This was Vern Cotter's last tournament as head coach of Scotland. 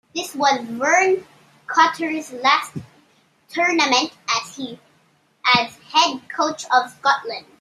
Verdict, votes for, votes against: rejected, 0, 2